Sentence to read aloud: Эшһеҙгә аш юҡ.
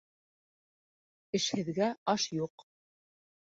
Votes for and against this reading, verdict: 3, 0, accepted